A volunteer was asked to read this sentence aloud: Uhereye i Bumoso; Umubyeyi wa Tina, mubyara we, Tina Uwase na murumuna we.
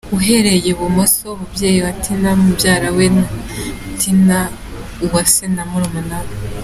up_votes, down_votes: 2, 0